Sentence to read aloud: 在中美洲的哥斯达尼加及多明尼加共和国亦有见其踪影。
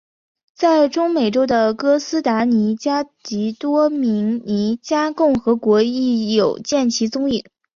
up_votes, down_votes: 5, 0